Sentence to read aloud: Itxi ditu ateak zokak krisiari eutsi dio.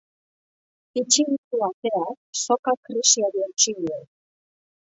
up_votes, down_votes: 2, 0